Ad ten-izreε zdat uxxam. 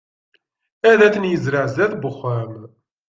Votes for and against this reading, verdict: 2, 0, accepted